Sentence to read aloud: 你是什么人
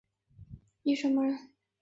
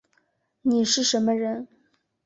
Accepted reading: second